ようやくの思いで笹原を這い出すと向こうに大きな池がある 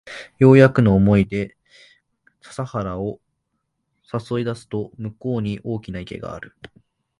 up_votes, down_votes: 2, 3